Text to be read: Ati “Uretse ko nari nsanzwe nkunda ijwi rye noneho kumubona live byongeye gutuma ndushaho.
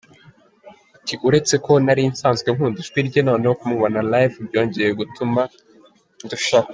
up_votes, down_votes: 0, 2